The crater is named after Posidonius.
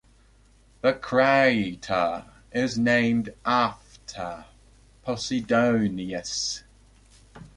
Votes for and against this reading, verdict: 2, 0, accepted